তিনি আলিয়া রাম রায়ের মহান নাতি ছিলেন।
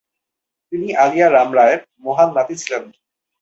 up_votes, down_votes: 2, 2